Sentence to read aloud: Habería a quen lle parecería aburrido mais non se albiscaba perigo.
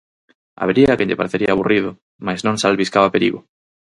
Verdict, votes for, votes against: rejected, 2, 2